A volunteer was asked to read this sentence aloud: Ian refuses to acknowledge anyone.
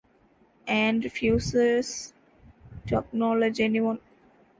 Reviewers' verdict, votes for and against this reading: rejected, 0, 2